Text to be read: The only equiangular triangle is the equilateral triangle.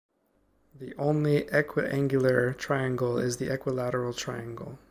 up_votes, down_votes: 2, 0